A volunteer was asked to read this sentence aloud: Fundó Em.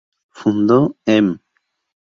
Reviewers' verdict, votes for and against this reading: rejected, 0, 2